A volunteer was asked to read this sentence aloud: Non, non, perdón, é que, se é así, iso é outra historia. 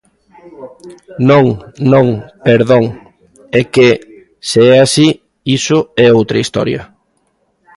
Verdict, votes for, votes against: accepted, 2, 0